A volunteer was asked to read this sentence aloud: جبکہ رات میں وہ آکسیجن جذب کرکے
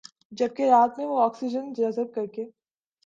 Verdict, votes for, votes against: accepted, 2, 0